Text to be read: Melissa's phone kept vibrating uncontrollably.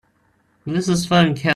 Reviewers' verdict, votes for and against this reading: rejected, 0, 2